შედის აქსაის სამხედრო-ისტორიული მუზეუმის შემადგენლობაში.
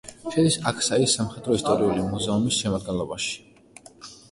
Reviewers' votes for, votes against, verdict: 1, 2, rejected